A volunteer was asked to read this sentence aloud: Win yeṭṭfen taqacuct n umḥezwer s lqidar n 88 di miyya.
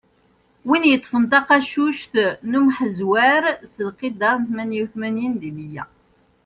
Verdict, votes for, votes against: rejected, 0, 2